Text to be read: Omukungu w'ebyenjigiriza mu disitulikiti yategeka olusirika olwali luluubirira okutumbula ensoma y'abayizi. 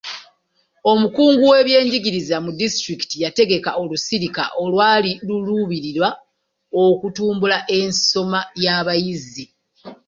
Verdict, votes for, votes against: rejected, 0, 2